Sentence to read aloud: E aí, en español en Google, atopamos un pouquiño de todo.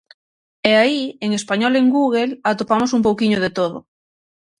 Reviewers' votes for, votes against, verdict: 6, 0, accepted